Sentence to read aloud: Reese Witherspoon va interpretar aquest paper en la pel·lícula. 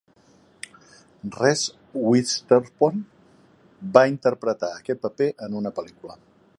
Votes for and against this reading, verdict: 1, 2, rejected